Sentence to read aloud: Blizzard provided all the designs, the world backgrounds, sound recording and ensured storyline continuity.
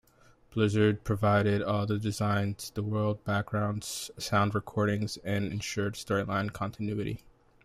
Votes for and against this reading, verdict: 2, 1, accepted